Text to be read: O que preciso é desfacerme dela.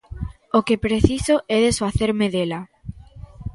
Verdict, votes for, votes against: accepted, 2, 0